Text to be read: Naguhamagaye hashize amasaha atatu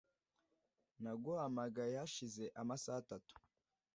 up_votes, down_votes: 2, 0